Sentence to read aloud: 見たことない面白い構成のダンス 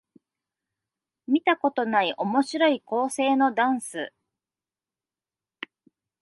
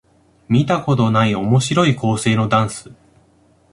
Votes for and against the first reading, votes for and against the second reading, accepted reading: 2, 0, 0, 2, first